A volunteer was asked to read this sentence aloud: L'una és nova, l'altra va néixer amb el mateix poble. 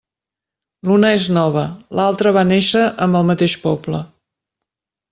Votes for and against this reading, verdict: 4, 0, accepted